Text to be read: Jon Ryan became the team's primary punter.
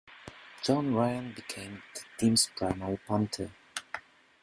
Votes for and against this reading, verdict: 2, 1, accepted